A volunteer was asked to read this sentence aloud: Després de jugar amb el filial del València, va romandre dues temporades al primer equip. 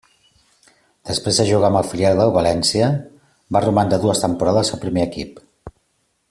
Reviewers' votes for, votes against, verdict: 2, 0, accepted